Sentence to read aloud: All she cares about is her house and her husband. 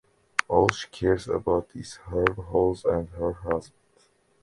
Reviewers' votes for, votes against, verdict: 2, 1, accepted